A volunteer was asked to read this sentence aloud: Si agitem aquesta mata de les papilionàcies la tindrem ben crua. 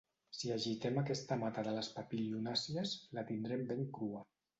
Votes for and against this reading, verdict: 2, 0, accepted